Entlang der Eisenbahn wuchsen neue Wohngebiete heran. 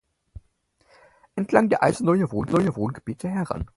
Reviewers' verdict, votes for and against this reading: rejected, 0, 4